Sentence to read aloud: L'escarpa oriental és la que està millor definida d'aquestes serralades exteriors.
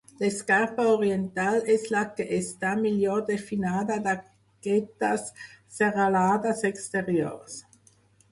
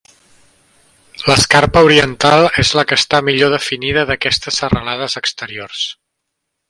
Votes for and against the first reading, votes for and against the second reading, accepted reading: 0, 4, 2, 0, second